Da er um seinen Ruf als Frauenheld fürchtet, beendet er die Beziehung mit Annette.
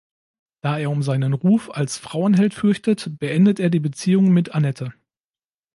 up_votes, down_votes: 2, 0